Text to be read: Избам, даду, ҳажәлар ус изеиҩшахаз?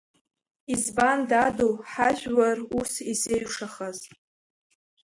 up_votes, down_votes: 0, 2